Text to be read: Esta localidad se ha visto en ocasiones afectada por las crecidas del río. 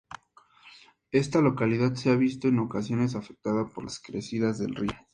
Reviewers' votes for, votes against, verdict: 4, 0, accepted